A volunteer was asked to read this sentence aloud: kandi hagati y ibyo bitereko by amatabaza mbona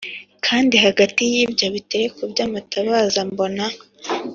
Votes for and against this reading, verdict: 3, 0, accepted